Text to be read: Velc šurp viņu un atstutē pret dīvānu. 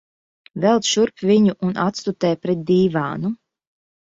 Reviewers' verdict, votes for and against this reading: accepted, 2, 0